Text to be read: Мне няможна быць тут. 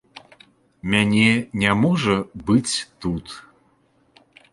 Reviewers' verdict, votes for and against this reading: rejected, 0, 2